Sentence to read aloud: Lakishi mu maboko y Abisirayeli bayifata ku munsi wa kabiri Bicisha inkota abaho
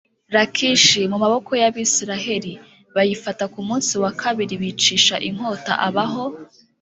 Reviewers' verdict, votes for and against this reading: accepted, 2, 0